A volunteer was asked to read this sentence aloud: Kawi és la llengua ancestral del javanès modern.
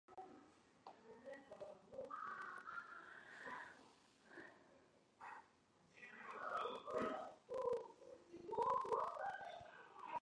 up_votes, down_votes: 0, 2